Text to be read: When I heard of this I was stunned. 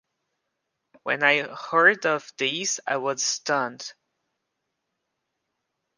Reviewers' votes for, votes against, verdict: 2, 0, accepted